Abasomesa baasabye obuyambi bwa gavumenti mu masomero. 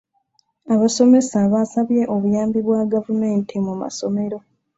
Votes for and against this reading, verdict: 3, 0, accepted